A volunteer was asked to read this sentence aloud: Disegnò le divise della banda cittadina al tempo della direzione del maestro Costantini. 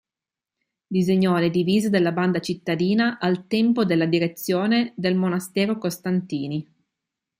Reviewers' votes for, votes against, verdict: 0, 2, rejected